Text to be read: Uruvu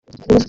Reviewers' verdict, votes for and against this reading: rejected, 1, 2